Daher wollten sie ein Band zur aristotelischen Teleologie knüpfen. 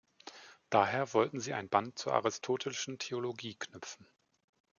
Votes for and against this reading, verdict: 1, 2, rejected